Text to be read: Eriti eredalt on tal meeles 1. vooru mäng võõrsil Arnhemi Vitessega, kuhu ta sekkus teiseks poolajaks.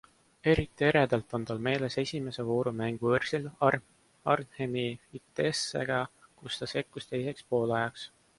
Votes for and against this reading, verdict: 0, 2, rejected